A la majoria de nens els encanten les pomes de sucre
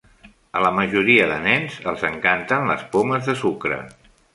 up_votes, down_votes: 3, 0